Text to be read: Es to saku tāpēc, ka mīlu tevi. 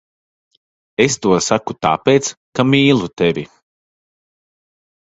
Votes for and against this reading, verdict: 2, 0, accepted